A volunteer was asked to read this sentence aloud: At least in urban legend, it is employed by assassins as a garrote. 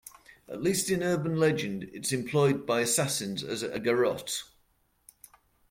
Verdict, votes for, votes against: rejected, 0, 2